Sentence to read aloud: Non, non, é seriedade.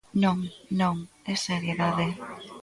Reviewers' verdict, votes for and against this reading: accepted, 2, 0